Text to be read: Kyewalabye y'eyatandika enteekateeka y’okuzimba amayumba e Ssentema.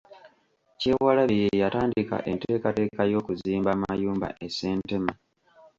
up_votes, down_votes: 1, 2